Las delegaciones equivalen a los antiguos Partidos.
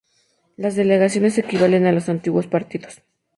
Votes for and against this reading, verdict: 2, 0, accepted